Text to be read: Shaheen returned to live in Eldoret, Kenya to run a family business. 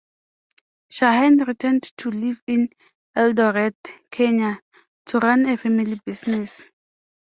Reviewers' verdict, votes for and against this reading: accepted, 2, 0